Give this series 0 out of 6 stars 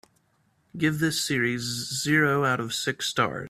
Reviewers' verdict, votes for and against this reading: rejected, 0, 2